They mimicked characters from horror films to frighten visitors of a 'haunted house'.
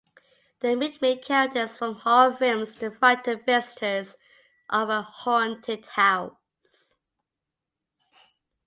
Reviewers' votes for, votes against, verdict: 2, 1, accepted